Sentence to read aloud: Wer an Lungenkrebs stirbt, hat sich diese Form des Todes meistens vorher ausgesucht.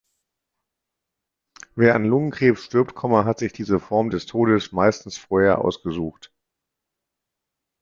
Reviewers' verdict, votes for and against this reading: rejected, 1, 2